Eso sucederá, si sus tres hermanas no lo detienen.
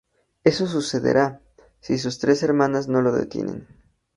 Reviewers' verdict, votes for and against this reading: accepted, 2, 0